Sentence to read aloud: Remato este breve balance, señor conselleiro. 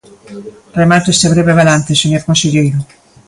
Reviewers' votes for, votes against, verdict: 2, 0, accepted